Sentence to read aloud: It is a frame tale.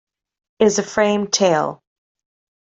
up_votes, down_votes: 1, 2